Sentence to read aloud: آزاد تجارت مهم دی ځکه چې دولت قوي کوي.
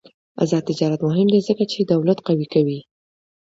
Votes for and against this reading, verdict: 2, 0, accepted